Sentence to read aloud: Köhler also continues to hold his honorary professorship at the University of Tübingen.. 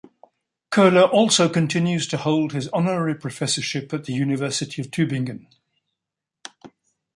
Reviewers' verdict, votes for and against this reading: accepted, 2, 0